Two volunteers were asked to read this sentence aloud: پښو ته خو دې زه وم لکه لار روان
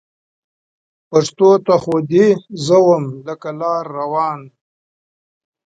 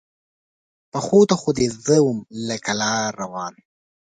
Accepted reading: second